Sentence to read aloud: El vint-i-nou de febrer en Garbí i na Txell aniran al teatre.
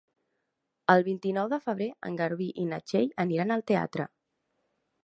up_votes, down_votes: 2, 0